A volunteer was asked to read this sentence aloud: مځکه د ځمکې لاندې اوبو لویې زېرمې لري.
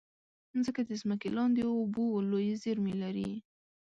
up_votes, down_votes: 2, 0